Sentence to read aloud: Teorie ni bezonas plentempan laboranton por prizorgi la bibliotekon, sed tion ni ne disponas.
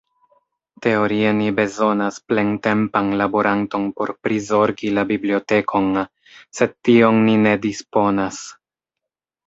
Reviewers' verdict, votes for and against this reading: rejected, 0, 2